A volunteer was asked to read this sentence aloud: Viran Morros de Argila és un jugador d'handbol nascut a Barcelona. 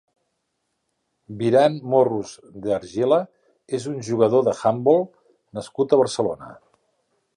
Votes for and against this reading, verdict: 1, 2, rejected